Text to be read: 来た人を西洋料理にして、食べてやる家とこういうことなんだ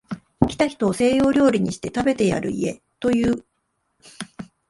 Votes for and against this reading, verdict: 0, 2, rejected